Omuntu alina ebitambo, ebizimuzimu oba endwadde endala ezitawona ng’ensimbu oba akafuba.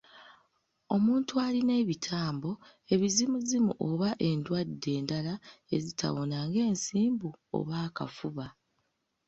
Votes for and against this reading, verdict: 2, 1, accepted